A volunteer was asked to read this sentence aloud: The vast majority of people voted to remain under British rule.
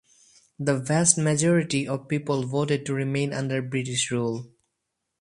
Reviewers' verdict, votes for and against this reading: accepted, 2, 0